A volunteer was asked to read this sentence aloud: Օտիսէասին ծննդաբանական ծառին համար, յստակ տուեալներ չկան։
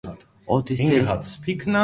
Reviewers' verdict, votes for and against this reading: rejected, 0, 2